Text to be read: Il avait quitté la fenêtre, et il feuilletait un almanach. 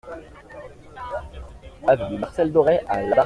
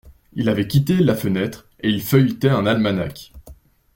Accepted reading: second